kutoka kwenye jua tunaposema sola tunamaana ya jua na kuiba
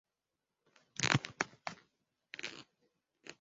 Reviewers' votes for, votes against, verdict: 0, 2, rejected